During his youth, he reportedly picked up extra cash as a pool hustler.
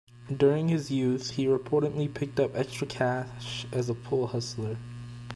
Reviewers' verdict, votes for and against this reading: accepted, 2, 0